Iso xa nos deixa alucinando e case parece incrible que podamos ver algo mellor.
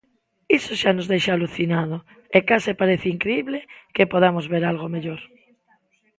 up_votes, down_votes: 0, 2